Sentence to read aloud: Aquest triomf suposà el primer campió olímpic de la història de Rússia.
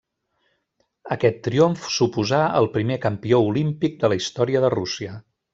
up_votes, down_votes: 3, 0